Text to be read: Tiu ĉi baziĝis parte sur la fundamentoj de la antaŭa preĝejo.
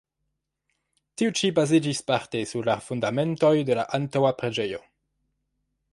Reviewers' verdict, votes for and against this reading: accepted, 2, 0